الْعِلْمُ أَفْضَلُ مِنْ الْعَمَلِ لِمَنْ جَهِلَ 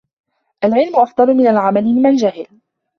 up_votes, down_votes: 2, 0